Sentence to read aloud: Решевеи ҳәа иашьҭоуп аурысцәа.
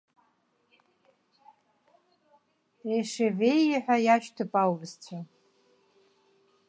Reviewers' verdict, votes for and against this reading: rejected, 1, 2